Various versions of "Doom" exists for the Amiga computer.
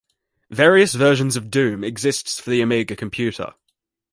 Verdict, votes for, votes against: accepted, 3, 2